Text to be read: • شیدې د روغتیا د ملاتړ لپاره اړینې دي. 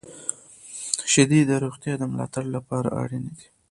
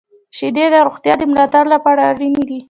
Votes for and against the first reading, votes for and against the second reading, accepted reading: 2, 0, 1, 2, first